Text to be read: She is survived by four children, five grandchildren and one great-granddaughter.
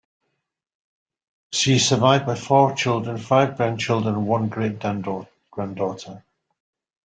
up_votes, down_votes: 0, 2